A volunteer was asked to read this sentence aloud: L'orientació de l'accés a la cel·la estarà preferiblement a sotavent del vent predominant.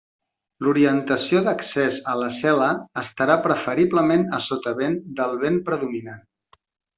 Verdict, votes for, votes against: rejected, 0, 2